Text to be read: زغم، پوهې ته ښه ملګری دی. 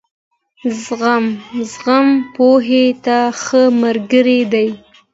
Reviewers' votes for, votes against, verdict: 2, 0, accepted